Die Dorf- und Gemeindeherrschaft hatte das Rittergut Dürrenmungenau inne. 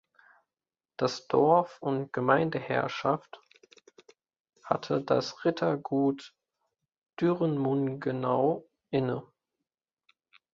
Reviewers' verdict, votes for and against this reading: rejected, 0, 2